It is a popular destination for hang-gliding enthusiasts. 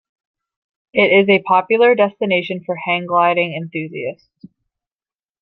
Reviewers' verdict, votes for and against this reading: accepted, 2, 0